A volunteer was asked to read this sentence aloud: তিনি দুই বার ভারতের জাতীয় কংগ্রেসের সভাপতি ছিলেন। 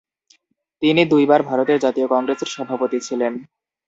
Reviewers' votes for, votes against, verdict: 2, 0, accepted